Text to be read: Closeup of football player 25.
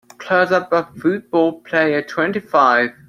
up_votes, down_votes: 0, 2